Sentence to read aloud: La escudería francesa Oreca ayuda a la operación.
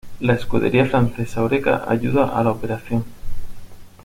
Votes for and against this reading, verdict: 2, 0, accepted